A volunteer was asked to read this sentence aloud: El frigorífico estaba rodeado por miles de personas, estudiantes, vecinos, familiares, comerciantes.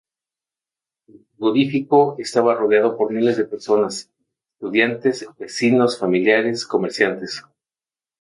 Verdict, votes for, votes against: rejected, 0, 2